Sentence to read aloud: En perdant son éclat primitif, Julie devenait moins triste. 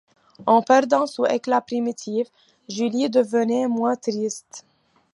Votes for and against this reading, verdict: 2, 1, accepted